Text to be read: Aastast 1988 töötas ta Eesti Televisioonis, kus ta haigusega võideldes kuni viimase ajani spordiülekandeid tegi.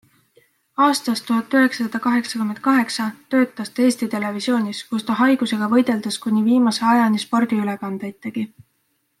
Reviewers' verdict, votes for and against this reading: rejected, 0, 2